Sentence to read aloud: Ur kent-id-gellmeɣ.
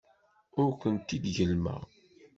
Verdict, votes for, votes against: accepted, 2, 0